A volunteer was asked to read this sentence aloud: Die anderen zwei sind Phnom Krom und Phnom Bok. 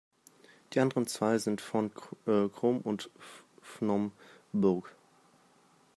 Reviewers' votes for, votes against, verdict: 0, 2, rejected